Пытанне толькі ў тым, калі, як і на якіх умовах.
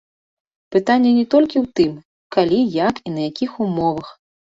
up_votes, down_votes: 0, 2